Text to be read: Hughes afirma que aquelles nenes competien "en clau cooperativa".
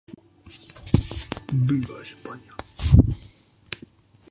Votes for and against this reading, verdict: 1, 2, rejected